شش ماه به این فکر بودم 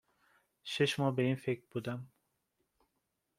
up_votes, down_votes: 2, 0